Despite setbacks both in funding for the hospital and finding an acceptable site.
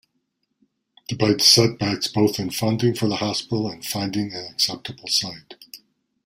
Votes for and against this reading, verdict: 0, 2, rejected